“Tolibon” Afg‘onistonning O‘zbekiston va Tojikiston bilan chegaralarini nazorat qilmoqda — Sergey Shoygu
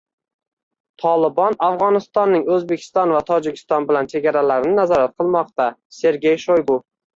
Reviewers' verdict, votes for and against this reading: rejected, 1, 2